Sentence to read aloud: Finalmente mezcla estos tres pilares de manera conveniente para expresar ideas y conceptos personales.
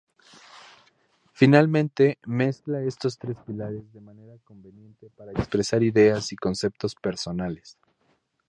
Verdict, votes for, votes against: rejected, 0, 2